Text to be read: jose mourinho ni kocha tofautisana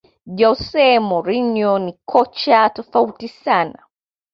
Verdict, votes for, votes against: accepted, 2, 1